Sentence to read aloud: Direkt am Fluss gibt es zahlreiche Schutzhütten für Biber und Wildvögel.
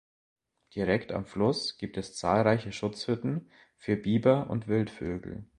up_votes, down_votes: 2, 0